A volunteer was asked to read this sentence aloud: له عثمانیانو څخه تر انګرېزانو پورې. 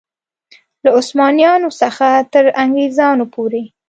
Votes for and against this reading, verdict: 2, 0, accepted